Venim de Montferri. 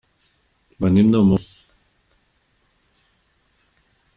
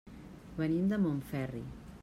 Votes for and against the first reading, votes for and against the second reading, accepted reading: 0, 2, 3, 0, second